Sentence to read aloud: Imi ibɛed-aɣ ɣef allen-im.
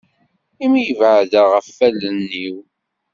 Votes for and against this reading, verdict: 1, 3, rejected